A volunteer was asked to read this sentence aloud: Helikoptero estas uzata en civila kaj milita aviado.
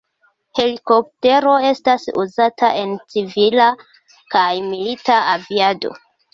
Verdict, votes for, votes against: accepted, 2, 0